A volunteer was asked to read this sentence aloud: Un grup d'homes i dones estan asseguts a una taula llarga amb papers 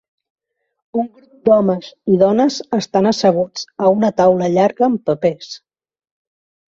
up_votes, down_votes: 3, 0